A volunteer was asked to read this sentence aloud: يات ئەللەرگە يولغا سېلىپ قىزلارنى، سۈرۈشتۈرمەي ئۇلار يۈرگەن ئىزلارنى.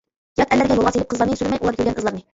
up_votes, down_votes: 0, 2